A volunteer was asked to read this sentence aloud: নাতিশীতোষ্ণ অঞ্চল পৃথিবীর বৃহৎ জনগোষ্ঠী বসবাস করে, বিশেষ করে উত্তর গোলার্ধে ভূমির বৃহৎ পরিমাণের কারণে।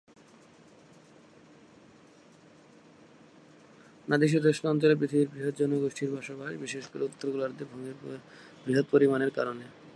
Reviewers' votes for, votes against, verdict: 0, 2, rejected